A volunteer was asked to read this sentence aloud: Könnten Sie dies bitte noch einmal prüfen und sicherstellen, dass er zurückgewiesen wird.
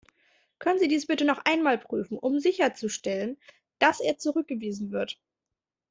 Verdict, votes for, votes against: rejected, 0, 2